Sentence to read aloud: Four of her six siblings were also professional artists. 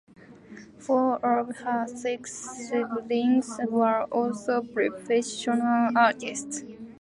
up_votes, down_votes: 2, 0